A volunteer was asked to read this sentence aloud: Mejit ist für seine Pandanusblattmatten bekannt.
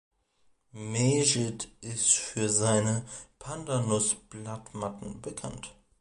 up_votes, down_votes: 2, 1